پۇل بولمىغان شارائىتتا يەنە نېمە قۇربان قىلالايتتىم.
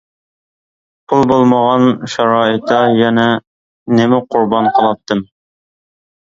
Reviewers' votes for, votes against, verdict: 0, 2, rejected